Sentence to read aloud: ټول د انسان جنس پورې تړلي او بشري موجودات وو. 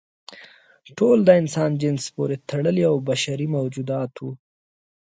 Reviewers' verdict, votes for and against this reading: accepted, 2, 0